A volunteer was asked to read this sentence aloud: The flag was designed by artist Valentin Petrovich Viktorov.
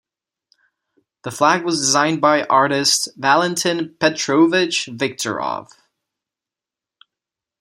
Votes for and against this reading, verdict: 1, 2, rejected